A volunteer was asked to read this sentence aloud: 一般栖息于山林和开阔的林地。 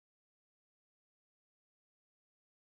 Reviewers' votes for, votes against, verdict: 0, 2, rejected